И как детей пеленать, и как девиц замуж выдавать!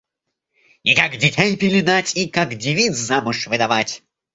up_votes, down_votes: 1, 2